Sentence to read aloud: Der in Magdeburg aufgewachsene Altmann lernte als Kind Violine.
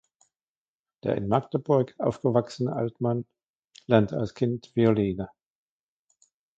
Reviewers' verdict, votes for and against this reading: rejected, 1, 2